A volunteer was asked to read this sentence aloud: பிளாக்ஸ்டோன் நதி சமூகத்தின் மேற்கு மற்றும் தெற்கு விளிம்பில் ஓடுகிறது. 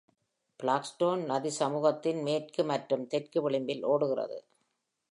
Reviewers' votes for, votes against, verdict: 2, 0, accepted